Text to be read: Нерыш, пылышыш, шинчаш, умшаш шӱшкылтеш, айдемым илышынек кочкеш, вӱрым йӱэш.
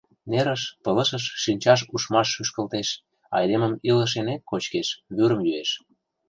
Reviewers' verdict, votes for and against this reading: rejected, 0, 2